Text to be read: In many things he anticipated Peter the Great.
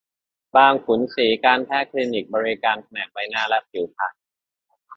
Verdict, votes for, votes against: rejected, 0, 2